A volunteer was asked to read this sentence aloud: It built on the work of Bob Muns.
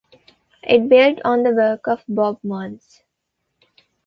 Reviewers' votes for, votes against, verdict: 2, 0, accepted